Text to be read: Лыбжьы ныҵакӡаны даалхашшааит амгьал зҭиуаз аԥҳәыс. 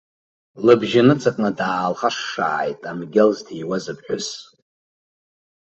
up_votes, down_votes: 1, 2